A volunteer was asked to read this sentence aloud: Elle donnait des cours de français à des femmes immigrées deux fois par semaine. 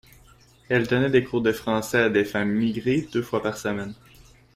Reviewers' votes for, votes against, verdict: 1, 2, rejected